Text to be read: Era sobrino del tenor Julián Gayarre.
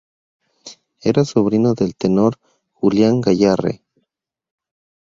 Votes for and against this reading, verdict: 2, 0, accepted